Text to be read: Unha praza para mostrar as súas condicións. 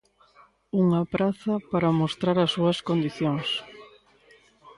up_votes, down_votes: 1, 2